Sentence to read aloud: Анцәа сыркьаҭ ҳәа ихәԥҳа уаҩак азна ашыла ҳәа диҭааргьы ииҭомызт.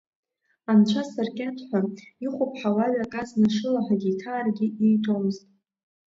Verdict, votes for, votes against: rejected, 1, 2